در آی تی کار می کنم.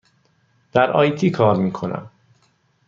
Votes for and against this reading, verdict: 2, 0, accepted